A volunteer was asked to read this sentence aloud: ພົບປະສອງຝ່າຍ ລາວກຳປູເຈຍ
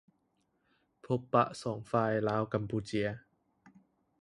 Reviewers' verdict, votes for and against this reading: accepted, 2, 0